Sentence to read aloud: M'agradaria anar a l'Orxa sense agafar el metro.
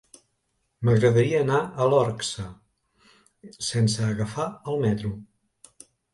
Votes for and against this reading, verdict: 1, 2, rejected